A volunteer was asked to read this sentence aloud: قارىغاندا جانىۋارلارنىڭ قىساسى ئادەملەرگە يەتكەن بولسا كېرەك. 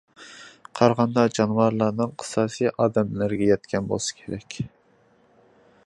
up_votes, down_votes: 2, 0